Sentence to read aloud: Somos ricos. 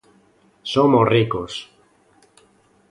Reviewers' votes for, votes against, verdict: 2, 0, accepted